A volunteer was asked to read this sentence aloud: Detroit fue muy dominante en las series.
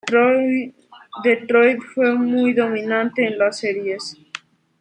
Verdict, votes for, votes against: rejected, 0, 2